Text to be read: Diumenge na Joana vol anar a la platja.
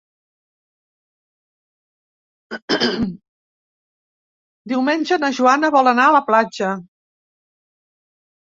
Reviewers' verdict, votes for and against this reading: rejected, 0, 4